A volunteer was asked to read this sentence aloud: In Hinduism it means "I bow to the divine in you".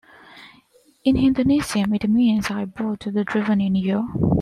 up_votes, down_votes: 0, 2